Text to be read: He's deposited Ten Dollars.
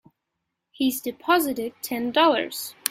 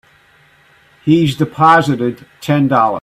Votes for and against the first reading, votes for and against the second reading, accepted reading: 3, 0, 1, 2, first